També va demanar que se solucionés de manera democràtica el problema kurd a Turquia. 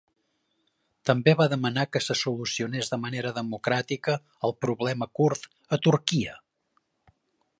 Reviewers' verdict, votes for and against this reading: accepted, 3, 0